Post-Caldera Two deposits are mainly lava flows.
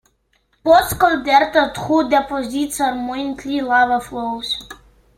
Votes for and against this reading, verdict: 0, 2, rejected